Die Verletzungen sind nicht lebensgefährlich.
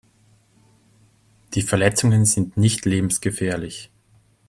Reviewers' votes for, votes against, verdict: 2, 0, accepted